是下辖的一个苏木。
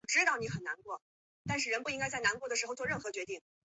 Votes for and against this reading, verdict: 0, 3, rejected